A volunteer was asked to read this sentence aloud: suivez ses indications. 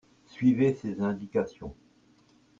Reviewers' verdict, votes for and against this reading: accepted, 2, 0